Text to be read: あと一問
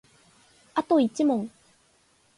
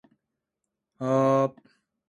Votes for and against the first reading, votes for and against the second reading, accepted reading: 3, 0, 0, 2, first